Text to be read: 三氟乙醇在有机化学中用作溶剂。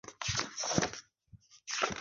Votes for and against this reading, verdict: 1, 3, rejected